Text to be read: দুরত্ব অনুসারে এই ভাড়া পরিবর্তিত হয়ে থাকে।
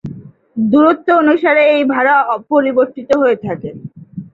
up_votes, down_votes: 0, 2